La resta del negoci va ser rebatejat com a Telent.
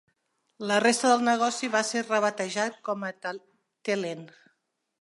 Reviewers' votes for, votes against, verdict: 1, 2, rejected